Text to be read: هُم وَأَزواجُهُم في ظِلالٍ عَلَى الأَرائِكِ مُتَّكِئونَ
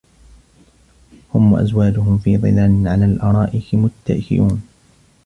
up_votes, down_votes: 1, 2